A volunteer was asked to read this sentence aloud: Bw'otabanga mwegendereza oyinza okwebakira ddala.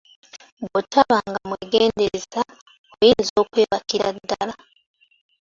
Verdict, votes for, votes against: accepted, 2, 0